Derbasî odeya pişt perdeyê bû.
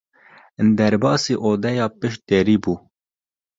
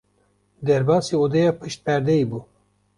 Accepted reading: second